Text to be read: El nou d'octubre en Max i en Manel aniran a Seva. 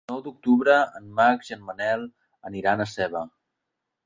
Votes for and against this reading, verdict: 1, 2, rejected